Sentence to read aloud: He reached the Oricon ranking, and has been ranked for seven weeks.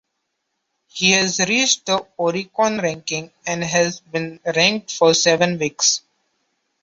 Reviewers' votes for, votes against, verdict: 0, 3, rejected